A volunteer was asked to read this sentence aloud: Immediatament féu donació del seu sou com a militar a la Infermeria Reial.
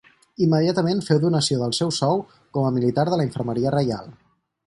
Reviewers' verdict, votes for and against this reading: rejected, 0, 4